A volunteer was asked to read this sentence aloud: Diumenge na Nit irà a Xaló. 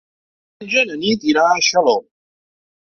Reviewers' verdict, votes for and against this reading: rejected, 0, 2